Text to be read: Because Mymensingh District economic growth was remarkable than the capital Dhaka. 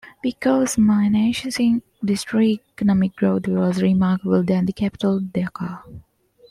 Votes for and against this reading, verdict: 2, 1, accepted